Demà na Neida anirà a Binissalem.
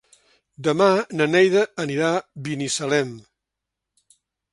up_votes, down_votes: 1, 2